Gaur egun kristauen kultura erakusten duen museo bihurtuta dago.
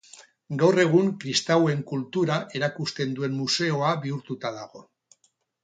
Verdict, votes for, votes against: rejected, 0, 2